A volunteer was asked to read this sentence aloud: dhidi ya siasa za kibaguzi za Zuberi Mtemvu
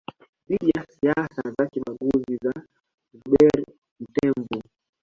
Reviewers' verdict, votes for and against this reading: rejected, 0, 2